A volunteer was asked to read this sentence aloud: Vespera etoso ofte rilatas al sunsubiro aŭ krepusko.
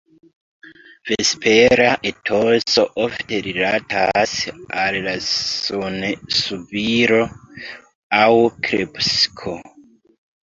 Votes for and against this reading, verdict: 0, 2, rejected